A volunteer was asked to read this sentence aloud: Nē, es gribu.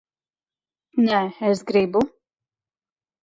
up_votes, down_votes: 2, 0